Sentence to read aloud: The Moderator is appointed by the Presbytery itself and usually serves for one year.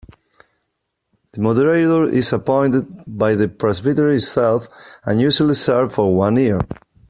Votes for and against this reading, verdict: 2, 1, accepted